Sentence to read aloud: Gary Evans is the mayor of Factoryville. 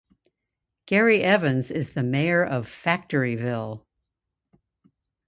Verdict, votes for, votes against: accepted, 2, 0